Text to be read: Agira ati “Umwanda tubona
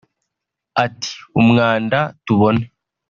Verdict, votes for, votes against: rejected, 1, 2